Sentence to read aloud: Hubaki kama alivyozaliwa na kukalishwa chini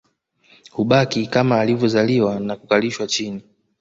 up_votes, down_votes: 2, 0